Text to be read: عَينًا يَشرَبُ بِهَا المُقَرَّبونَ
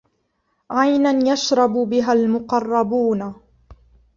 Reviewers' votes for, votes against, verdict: 1, 2, rejected